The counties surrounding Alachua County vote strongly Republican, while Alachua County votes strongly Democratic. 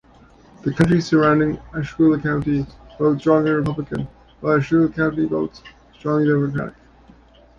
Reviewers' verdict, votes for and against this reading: rejected, 0, 2